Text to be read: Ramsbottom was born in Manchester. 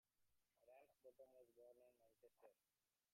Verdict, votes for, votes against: rejected, 0, 2